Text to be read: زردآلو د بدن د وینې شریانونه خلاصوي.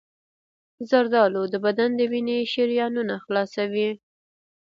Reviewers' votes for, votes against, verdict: 1, 2, rejected